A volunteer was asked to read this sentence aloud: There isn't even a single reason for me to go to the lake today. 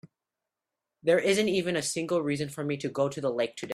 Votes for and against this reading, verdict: 2, 3, rejected